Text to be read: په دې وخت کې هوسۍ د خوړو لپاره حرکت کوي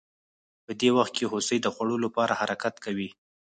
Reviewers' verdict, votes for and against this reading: rejected, 0, 4